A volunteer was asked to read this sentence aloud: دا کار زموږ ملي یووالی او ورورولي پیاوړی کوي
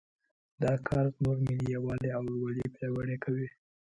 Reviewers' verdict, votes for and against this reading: accepted, 2, 0